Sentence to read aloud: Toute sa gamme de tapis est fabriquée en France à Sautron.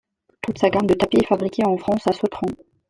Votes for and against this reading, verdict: 2, 0, accepted